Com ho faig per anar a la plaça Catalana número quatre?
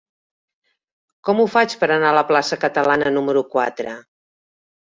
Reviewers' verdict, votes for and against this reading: accepted, 3, 0